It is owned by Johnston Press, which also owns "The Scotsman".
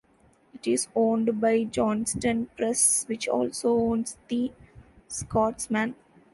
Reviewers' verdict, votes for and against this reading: accepted, 3, 1